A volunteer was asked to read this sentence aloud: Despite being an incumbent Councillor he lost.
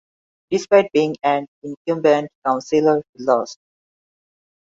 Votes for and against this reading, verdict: 1, 2, rejected